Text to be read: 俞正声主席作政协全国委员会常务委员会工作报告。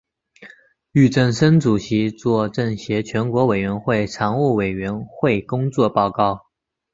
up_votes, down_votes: 2, 1